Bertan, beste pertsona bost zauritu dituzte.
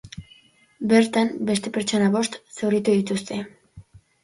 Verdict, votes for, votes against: accepted, 2, 0